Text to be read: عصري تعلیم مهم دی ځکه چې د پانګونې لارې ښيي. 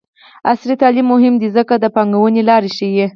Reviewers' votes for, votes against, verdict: 0, 4, rejected